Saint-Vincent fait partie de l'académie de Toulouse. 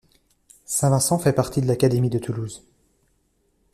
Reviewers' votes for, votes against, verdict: 2, 0, accepted